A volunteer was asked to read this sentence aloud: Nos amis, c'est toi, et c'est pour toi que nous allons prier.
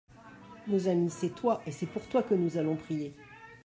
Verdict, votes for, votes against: rejected, 0, 2